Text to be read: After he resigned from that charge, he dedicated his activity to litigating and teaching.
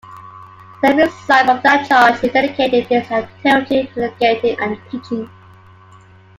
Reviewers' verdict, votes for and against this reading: rejected, 1, 2